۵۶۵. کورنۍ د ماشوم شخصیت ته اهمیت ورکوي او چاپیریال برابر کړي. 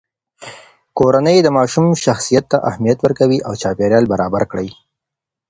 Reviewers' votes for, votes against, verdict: 0, 2, rejected